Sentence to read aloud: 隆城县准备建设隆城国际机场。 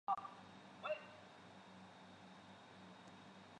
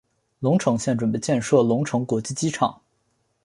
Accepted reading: second